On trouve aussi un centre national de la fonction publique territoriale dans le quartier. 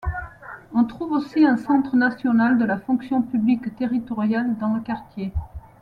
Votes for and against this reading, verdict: 2, 0, accepted